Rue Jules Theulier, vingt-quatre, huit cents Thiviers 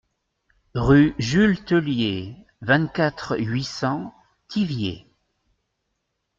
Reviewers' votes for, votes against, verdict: 2, 0, accepted